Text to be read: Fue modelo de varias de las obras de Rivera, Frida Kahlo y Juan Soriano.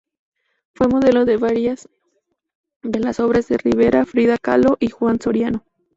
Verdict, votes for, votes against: accepted, 2, 0